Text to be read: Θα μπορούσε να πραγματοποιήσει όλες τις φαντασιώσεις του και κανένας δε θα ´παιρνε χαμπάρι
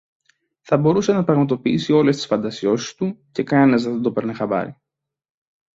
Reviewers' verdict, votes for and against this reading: rejected, 0, 2